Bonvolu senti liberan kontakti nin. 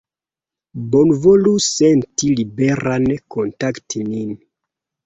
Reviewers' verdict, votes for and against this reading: accepted, 2, 0